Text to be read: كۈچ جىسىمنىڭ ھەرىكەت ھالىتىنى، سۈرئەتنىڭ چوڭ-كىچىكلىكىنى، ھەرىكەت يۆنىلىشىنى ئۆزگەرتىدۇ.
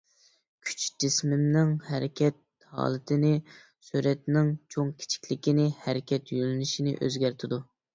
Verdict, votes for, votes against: rejected, 0, 2